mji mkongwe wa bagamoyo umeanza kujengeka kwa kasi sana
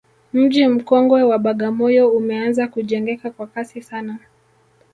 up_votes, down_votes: 2, 0